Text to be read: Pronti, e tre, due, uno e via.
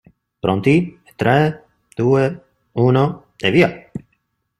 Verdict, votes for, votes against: rejected, 1, 2